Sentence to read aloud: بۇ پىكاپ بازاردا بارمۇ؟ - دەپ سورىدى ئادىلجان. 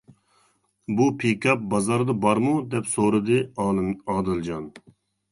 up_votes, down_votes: 0, 2